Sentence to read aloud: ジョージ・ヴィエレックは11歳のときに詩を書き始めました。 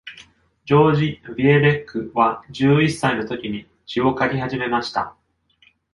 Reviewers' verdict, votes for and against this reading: rejected, 0, 2